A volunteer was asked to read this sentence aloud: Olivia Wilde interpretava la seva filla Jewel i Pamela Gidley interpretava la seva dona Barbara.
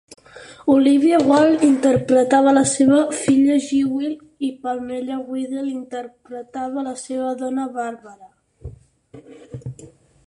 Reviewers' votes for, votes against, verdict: 2, 4, rejected